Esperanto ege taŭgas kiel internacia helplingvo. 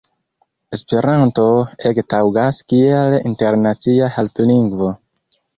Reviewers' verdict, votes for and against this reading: rejected, 0, 2